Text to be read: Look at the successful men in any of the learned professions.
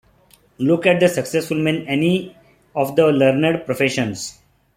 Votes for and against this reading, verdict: 0, 2, rejected